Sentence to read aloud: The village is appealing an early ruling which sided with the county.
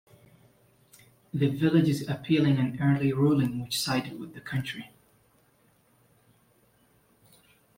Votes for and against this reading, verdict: 1, 2, rejected